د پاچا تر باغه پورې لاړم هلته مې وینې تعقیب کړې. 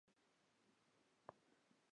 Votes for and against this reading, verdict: 1, 2, rejected